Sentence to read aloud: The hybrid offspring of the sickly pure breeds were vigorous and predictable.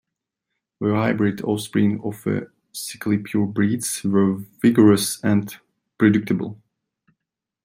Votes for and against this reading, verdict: 1, 2, rejected